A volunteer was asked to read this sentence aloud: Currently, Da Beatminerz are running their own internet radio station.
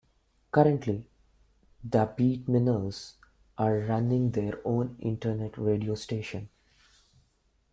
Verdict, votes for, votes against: rejected, 1, 3